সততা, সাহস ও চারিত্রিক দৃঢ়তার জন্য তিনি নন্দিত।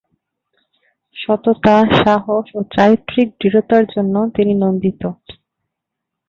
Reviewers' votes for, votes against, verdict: 10, 4, accepted